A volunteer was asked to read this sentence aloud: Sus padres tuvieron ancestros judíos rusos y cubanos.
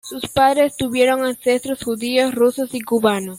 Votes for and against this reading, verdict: 2, 0, accepted